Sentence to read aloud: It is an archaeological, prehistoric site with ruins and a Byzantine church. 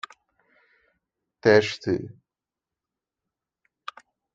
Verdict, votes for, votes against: rejected, 0, 3